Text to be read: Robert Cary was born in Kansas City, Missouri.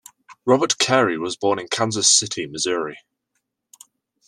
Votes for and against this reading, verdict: 2, 0, accepted